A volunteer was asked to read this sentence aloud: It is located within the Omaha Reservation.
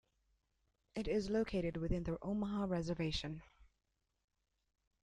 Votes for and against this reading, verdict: 2, 0, accepted